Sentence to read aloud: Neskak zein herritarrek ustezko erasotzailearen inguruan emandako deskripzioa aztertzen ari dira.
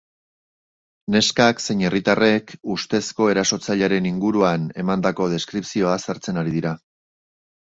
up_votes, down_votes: 1, 2